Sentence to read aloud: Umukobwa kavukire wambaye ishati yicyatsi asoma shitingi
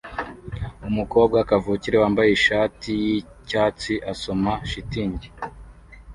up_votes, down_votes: 2, 0